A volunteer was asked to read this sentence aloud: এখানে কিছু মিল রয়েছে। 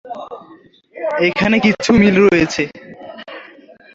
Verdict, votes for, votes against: accepted, 2, 1